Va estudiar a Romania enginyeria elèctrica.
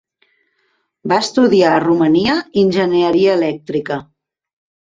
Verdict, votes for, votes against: accepted, 2, 1